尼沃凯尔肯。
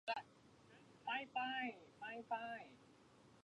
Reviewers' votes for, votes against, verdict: 0, 2, rejected